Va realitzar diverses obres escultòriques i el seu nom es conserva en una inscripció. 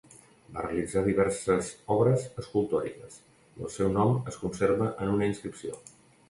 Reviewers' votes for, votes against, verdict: 0, 2, rejected